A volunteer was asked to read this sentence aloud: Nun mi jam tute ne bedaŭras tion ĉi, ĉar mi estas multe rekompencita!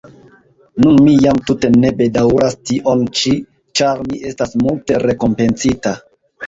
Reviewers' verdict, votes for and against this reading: accepted, 2, 1